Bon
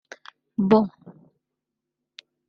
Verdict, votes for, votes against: rejected, 1, 2